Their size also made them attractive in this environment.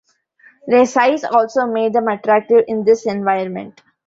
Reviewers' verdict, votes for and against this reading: accepted, 2, 0